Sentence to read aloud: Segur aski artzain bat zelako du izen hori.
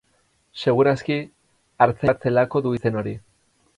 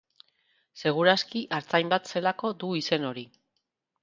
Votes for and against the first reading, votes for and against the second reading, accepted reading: 2, 4, 2, 0, second